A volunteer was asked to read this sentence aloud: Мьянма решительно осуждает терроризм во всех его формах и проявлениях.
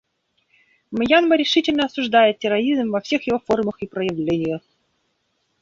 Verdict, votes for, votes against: rejected, 1, 2